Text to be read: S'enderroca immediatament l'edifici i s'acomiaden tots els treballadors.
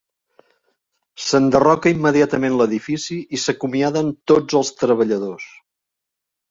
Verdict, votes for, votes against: accepted, 3, 0